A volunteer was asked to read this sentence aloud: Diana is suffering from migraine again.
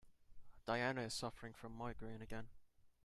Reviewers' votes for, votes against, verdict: 2, 0, accepted